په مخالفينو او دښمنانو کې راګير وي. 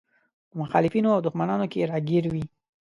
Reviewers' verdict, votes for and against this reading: accepted, 2, 0